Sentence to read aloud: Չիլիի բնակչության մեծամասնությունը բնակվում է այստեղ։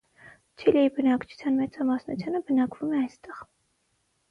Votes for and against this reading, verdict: 3, 3, rejected